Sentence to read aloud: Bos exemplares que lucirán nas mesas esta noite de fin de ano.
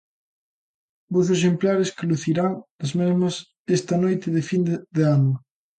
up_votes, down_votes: 0, 2